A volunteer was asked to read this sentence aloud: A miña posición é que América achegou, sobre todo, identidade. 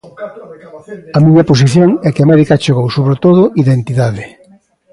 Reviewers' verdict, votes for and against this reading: accepted, 2, 1